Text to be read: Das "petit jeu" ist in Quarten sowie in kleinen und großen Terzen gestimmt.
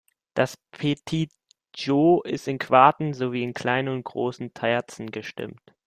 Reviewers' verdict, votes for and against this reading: rejected, 0, 2